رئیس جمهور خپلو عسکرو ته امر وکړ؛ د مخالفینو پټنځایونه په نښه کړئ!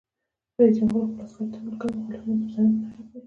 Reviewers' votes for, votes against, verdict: 0, 2, rejected